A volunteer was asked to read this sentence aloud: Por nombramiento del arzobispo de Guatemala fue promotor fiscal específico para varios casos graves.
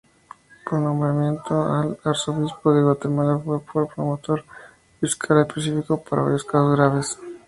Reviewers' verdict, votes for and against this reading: rejected, 0, 2